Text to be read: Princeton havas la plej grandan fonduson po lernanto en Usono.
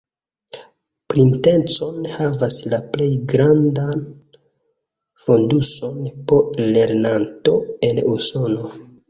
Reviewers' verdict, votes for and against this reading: rejected, 1, 2